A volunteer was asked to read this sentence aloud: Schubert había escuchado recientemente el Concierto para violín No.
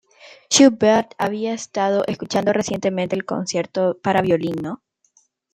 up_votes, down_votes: 0, 2